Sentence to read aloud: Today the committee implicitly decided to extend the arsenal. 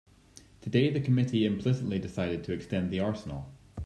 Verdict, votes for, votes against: accepted, 2, 0